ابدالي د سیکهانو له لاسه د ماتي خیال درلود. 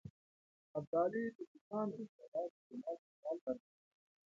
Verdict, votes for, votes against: rejected, 0, 2